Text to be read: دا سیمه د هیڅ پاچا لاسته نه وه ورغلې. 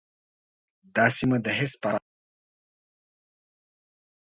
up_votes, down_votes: 1, 2